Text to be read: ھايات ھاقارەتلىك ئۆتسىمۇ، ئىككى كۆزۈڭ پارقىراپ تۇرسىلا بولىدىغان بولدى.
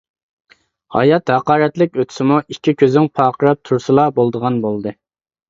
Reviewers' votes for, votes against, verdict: 2, 0, accepted